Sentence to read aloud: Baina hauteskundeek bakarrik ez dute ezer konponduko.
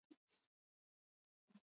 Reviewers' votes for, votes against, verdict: 0, 8, rejected